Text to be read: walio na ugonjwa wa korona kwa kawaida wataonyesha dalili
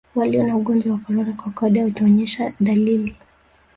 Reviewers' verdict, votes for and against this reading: rejected, 1, 2